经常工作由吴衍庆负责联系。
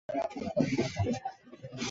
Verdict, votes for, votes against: rejected, 0, 3